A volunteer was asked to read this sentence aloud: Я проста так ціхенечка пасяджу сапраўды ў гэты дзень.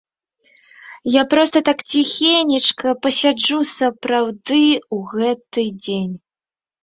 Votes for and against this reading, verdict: 2, 0, accepted